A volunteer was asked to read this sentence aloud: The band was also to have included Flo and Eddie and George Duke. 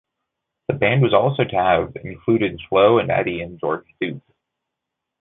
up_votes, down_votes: 1, 2